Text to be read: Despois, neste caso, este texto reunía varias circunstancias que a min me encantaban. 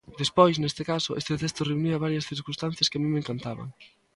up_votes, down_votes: 2, 1